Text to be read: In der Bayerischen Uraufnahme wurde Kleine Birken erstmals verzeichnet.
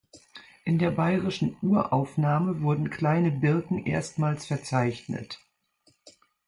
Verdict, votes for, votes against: rejected, 0, 2